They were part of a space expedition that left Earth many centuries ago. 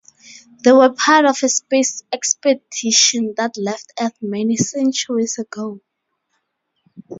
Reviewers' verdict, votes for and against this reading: rejected, 0, 2